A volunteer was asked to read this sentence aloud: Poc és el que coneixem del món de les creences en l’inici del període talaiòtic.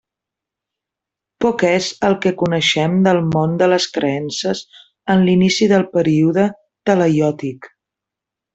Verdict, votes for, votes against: accepted, 2, 0